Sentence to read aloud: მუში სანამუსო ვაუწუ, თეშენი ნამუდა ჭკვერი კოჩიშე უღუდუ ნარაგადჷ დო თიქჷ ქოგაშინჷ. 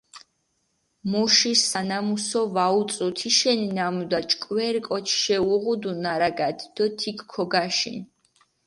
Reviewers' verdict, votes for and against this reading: accepted, 4, 2